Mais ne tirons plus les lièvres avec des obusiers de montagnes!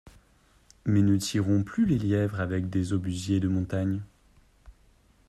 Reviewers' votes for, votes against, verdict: 2, 0, accepted